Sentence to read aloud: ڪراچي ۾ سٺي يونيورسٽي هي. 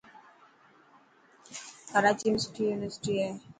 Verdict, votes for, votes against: accepted, 5, 0